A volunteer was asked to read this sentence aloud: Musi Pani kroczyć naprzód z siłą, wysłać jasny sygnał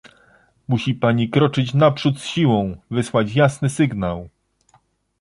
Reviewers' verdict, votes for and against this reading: accepted, 2, 0